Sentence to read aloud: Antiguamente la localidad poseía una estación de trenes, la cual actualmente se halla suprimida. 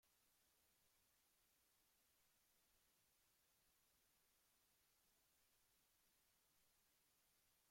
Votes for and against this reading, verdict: 0, 3, rejected